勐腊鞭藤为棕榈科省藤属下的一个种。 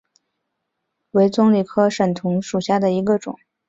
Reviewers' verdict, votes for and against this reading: rejected, 1, 2